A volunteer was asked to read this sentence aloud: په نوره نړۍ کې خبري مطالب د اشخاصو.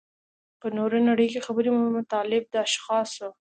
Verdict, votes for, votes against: rejected, 1, 2